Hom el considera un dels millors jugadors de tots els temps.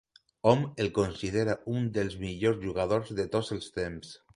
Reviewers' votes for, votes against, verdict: 2, 0, accepted